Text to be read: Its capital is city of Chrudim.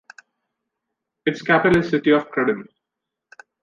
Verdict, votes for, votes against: rejected, 0, 2